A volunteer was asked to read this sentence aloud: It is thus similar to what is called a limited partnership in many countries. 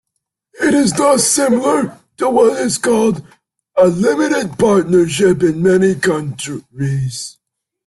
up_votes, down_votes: 2, 0